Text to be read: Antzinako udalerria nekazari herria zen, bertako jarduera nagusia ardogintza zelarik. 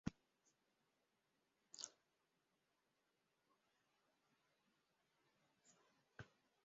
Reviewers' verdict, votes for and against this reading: rejected, 0, 2